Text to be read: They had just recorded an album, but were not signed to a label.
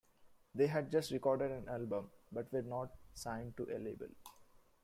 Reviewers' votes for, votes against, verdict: 2, 1, accepted